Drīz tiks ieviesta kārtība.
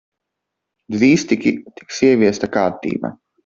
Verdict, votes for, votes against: rejected, 0, 2